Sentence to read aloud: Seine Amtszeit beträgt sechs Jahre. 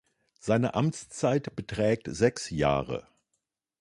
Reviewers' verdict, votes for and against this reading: accepted, 2, 0